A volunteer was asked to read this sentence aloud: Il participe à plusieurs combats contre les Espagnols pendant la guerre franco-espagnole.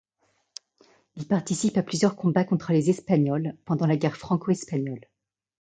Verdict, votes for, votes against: accepted, 2, 0